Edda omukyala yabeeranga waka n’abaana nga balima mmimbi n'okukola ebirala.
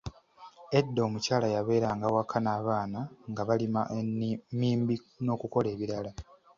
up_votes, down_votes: 1, 2